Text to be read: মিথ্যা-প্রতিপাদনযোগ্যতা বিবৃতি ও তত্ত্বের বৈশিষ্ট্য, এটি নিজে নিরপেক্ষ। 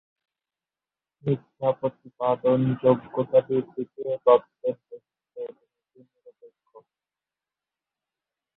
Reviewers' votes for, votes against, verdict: 1, 3, rejected